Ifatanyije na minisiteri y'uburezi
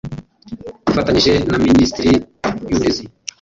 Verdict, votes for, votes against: rejected, 0, 2